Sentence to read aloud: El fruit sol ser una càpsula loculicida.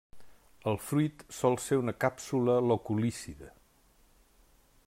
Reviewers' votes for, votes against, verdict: 0, 2, rejected